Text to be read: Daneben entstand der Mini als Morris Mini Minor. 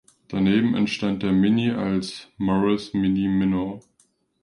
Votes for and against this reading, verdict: 2, 0, accepted